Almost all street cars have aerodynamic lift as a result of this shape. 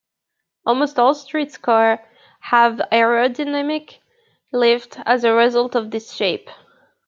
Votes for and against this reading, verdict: 0, 2, rejected